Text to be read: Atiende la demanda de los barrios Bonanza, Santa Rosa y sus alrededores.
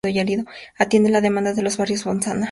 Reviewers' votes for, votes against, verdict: 0, 4, rejected